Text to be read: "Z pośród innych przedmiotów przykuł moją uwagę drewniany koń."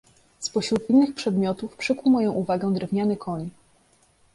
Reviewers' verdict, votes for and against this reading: accepted, 2, 0